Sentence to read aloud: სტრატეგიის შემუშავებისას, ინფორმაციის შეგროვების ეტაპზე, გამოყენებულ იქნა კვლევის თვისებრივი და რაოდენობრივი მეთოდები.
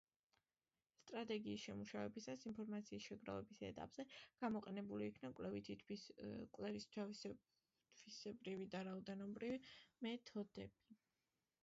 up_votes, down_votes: 0, 2